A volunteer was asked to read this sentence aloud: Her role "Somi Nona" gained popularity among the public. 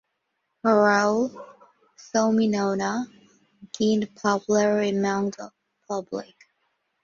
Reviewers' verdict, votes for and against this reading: rejected, 1, 2